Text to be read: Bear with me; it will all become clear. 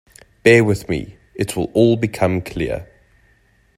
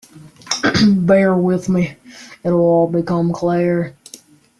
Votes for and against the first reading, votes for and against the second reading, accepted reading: 2, 0, 0, 2, first